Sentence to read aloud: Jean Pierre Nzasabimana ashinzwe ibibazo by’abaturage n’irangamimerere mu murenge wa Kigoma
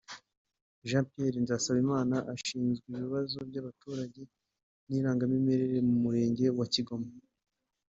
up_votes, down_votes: 2, 0